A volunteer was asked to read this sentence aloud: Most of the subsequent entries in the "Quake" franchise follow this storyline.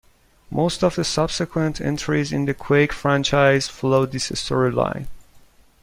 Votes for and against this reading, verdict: 2, 0, accepted